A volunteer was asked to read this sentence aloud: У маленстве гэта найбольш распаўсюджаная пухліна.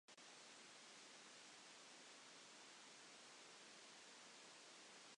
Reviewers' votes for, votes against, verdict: 0, 2, rejected